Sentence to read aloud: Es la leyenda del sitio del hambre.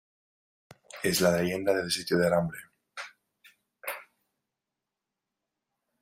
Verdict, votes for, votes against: accepted, 2, 0